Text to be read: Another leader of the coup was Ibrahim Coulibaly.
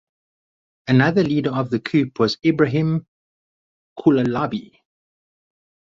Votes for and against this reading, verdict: 2, 2, rejected